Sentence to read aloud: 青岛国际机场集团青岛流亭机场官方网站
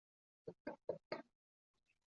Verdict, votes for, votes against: rejected, 1, 5